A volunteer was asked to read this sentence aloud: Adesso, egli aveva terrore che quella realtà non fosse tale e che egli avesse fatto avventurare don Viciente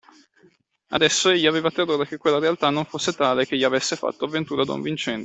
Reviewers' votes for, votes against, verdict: 1, 2, rejected